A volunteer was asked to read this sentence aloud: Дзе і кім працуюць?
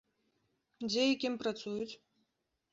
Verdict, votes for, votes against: accepted, 2, 0